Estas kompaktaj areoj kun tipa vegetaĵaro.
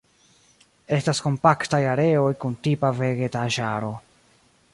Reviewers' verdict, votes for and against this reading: rejected, 0, 2